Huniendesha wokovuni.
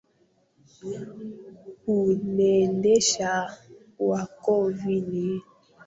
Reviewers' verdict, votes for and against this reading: rejected, 0, 2